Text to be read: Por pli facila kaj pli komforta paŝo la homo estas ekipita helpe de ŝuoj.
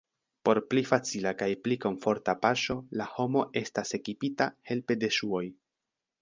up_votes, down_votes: 2, 0